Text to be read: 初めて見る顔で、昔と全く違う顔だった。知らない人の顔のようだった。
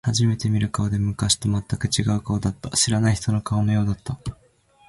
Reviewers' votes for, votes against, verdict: 2, 0, accepted